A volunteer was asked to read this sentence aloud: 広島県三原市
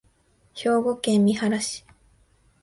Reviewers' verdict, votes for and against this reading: rejected, 0, 2